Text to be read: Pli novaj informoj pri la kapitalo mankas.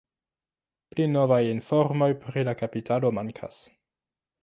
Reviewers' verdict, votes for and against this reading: rejected, 0, 2